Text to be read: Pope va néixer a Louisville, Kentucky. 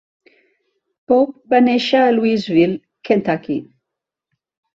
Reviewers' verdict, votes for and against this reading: accepted, 2, 0